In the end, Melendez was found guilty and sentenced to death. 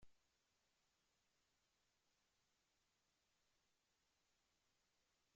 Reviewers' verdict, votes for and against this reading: rejected, 0, 3